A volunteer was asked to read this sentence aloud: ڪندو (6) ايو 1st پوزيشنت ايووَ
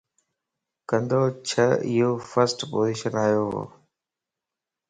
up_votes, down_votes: 0, 2